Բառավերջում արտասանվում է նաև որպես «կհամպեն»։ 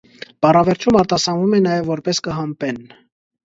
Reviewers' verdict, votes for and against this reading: accepted, 2, 0